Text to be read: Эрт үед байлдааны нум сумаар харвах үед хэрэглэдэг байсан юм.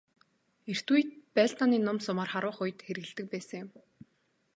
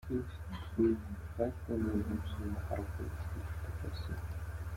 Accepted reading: first